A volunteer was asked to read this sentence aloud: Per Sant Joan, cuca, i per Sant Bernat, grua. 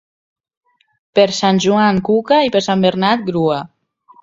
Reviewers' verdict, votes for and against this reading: accepted, 2, 0